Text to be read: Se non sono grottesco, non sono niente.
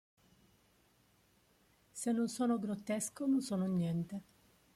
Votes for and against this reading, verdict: 1, 2, rejected